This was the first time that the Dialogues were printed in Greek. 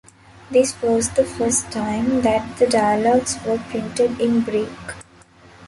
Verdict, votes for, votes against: accepted, 2, 1